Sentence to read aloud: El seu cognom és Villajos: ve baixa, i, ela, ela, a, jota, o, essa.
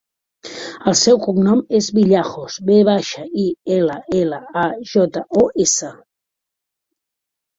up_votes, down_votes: 2, 0